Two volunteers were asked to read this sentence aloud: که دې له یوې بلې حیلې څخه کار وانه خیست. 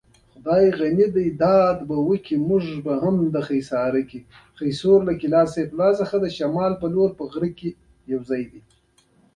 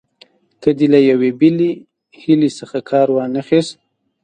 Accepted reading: second